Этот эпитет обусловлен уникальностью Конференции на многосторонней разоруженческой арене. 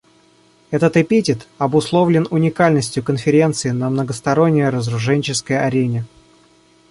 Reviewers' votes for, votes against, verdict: 1, 2, rejected